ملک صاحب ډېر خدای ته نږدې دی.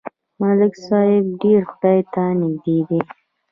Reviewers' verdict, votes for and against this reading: rejected, 1, 2